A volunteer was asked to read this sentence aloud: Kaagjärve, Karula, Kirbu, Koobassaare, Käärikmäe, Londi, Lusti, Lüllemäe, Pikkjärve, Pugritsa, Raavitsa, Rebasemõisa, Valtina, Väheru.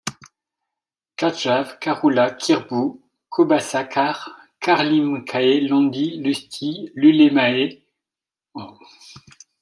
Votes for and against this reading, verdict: 0, 2, rejected